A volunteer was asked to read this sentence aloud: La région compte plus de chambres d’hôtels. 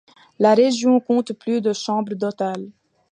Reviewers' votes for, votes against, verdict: 2, 1, accepted